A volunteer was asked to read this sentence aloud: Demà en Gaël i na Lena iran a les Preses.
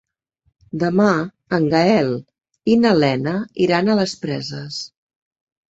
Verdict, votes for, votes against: accepted, 3, 0